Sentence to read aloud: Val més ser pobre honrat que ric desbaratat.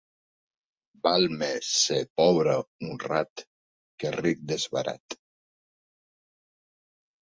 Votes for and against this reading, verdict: 0, 2, rejected